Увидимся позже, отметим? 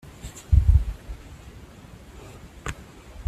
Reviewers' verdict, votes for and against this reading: rejected, 0, 2